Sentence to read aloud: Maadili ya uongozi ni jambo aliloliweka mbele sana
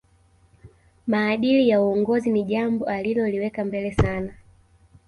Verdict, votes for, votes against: rejected, 0, 2